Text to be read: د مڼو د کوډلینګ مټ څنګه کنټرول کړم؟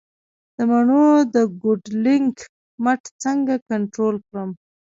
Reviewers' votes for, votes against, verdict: 1, 2, rejected